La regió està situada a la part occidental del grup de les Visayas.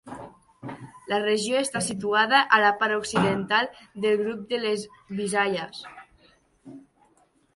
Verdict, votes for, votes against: accepted, 2, 0